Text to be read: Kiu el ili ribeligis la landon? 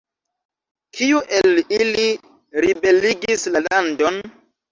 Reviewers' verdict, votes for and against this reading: accepted, 2, 1